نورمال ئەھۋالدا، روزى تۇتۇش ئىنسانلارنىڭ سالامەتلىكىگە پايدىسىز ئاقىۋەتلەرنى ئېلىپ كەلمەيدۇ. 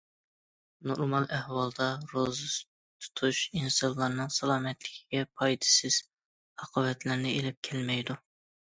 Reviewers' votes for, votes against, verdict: 2, 0, accepted